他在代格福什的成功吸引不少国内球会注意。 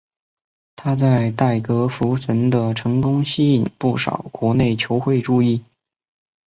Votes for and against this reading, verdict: 4, 1, accepted